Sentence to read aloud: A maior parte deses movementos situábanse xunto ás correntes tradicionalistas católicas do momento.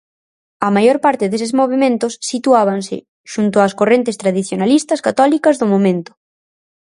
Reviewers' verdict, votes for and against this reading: accepted, 4, 0